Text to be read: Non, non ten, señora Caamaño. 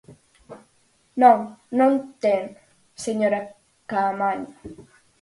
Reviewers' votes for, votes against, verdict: 4, 0, accepted